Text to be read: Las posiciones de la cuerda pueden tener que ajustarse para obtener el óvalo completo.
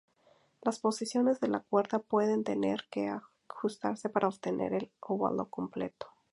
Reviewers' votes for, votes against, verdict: 0, 2, rejected